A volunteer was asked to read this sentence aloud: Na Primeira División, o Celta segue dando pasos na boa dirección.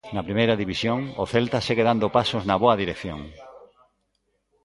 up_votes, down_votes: 2, 0